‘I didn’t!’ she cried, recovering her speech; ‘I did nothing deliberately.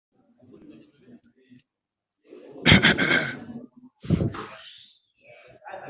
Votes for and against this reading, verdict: 0, 2, rejected